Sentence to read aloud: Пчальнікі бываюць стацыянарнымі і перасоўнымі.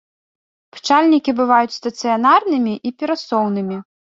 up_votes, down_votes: 2, 0